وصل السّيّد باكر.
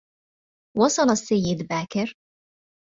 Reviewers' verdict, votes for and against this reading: accepted, 2, 0